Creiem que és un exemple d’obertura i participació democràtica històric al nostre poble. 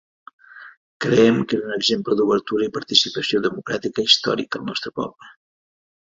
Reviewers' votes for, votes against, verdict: 2, 0, accepted